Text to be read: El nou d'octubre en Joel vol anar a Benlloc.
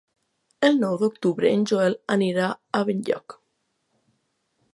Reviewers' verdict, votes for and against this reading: rejected, 0, 2